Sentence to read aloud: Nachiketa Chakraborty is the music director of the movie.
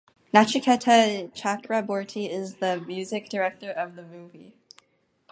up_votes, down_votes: 0, 2